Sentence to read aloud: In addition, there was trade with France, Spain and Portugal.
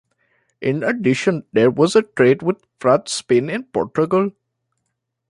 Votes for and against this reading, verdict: 1, 2, rejected